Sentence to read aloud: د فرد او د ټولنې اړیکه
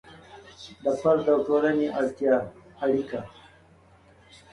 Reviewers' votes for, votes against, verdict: 3, 0, accepted